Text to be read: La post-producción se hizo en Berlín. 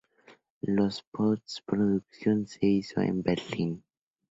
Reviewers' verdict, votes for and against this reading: rejected, 0, 2